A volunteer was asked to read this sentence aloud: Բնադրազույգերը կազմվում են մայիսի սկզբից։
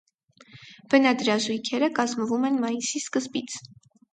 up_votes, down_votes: 4, 0